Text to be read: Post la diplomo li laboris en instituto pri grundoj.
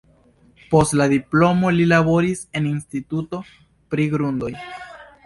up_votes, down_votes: 2, 0